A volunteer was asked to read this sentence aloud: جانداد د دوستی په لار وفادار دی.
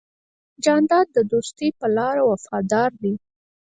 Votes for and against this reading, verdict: 2, 4, rejected